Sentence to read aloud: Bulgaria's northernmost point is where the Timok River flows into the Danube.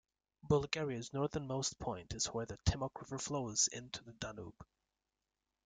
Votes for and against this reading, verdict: 2, 0, accepted